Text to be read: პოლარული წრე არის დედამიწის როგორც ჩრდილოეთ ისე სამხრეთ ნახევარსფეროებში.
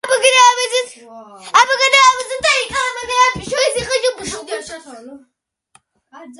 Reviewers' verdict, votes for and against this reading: rejected, 1, 2